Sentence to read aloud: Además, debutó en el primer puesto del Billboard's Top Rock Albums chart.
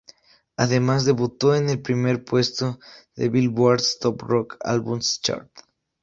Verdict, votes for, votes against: accepted, 4, 0